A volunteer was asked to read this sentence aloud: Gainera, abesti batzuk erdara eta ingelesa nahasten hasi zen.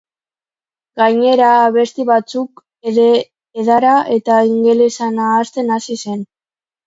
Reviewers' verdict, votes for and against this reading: rejected, 1, 2